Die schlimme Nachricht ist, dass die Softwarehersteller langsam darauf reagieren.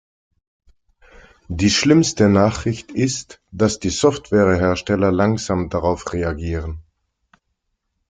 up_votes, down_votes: 0, 2